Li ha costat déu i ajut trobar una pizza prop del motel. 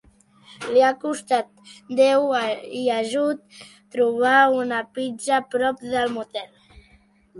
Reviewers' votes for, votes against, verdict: 0, 2, rejected